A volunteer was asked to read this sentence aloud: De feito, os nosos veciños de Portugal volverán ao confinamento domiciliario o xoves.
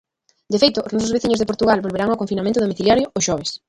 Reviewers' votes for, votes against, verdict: 0, 2, rejected